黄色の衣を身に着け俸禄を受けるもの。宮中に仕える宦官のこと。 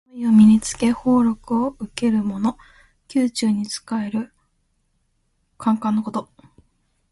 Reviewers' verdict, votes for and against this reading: accepted, 2, 1